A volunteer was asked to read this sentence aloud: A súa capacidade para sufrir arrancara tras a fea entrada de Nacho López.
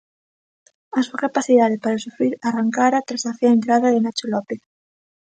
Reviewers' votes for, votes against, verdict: 2, 0, accepted